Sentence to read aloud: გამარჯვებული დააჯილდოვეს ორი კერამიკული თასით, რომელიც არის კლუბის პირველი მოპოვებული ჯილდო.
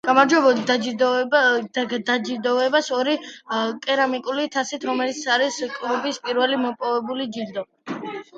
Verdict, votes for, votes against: rejected, 0, 2